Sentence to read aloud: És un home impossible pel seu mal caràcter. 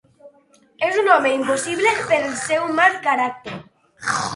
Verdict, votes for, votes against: rejected, 0, 6